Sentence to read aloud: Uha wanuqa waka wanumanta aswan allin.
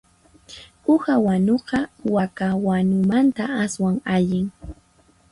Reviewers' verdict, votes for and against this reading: accepted, 4, 0